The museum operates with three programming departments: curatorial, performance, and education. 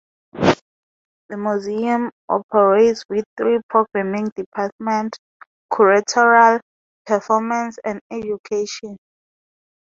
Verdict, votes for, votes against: accepted, 4, 0